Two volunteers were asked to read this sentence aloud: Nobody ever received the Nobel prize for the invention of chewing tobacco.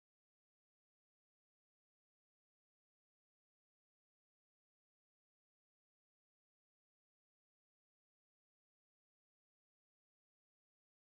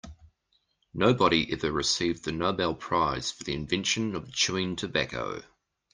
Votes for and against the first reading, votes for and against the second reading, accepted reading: 0, 2, 2, 0, second